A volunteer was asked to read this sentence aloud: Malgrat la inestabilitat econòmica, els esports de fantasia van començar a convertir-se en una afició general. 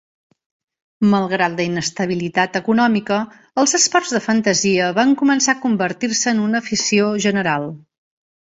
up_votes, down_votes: 3, 0